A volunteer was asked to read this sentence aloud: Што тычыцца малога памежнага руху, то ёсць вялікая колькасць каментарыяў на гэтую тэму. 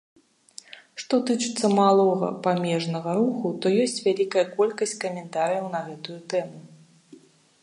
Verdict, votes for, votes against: accepted, 2, 0